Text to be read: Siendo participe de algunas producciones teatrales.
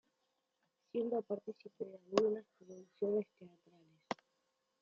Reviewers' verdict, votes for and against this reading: rejected, 0, 2